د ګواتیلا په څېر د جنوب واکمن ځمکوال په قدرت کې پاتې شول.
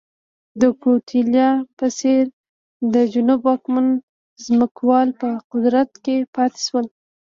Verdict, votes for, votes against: rejected, 1, 2